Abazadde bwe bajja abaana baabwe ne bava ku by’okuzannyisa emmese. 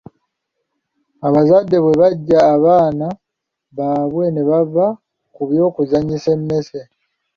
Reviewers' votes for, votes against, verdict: 2, 1, accepted